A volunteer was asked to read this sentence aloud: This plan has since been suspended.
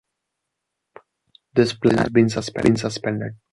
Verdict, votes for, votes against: rejected, 1, 2